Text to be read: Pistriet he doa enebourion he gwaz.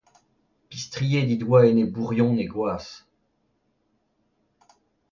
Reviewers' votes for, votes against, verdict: 2, 0, accepted